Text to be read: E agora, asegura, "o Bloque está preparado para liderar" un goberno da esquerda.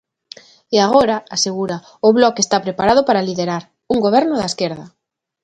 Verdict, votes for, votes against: accepted, 2, 0